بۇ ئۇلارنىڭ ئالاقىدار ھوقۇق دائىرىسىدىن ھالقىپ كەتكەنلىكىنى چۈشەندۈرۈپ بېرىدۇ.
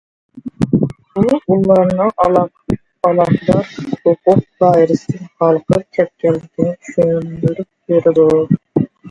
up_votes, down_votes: 0, 2